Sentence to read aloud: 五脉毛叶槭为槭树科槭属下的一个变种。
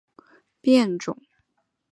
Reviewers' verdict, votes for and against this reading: accepted, 2, 1